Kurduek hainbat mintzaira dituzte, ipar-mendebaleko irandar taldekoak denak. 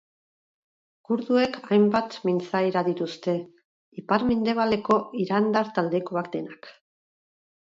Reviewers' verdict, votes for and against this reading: rejected, 2, 2